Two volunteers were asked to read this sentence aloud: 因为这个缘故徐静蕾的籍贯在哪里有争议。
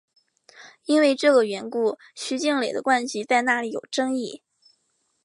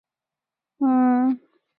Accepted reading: first